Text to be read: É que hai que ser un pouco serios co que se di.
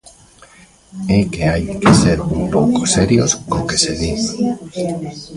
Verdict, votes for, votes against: rejected, 2, 3